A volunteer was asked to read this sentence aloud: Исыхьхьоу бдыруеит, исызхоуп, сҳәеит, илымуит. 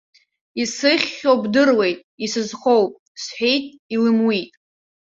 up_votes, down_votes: 2, 0